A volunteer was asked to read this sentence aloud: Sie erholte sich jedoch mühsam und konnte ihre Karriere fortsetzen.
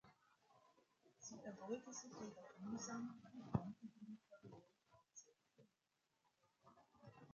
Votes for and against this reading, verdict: 0, 2, rejected